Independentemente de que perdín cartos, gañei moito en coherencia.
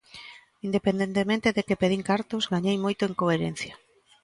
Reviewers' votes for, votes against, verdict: 2, 1, accepted